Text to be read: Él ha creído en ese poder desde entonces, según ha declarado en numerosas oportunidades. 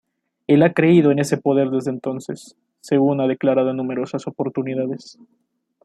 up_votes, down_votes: 2, 0